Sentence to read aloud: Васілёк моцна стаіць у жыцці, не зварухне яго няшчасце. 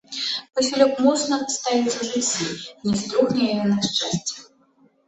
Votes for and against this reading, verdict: 0, 2, rejected